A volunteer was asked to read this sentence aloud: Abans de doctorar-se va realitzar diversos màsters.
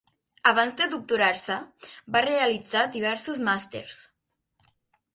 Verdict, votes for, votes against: accepted, 4, 0